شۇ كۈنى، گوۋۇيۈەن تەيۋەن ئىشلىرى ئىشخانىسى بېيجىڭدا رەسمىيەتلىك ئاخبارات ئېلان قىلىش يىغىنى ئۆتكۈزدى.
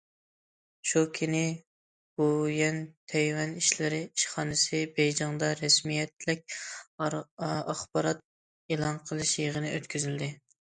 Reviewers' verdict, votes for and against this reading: rejected, 1, 2